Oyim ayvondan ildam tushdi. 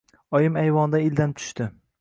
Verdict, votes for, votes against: accepted, 2, 0